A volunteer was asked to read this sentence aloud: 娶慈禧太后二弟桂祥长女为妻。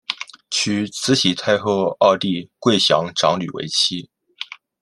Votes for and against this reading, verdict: 2, 0, accepted